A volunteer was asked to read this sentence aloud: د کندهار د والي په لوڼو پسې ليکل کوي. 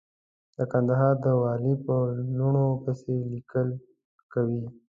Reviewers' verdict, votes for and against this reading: accepted, 2, 0